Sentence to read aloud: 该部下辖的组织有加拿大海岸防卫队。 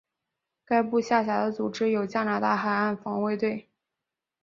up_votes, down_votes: 2, 0